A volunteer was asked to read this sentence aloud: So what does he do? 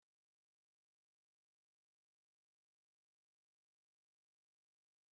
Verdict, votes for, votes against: rejected, 0, 2